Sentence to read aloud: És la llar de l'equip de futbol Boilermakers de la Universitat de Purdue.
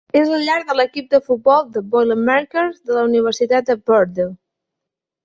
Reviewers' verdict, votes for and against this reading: rejected, 1, 2